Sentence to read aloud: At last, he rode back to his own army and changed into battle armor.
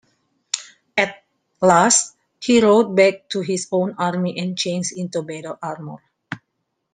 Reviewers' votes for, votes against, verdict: 1, 2, rejected